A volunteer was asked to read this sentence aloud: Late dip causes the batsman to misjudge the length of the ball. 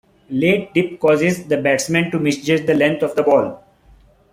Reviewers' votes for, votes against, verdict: 2, 0, accepted